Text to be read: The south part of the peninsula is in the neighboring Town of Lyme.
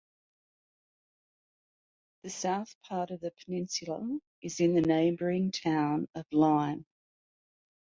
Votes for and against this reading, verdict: 2, 0, accepted